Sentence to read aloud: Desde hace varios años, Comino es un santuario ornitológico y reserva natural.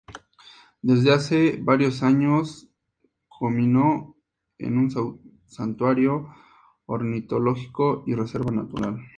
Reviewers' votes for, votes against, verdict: 2, 0, accepted